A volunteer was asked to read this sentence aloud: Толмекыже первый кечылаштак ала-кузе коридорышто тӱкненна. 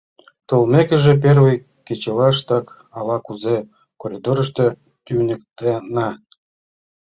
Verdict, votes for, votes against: rejected, 1, 2